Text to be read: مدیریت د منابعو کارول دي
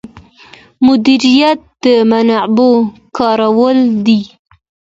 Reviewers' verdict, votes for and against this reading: accepted, 2, 1